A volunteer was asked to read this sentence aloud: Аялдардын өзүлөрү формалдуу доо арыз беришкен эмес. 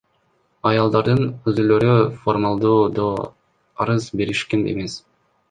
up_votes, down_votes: 1, 2